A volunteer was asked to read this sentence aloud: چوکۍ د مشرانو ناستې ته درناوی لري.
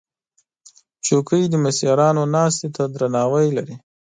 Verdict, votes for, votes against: accepted, 2, 0